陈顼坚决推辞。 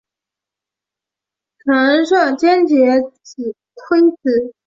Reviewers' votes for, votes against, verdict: 2, 2, rejected